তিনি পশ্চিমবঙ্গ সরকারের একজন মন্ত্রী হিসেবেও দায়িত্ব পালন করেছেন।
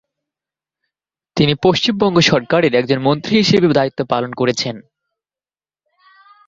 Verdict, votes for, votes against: accepted, 2, 0